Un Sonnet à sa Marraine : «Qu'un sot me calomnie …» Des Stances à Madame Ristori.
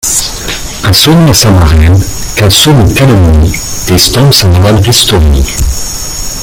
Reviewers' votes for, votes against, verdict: 1, 2, rejected